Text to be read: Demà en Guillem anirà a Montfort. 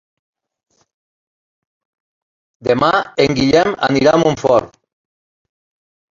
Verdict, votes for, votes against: accepted, 3, 1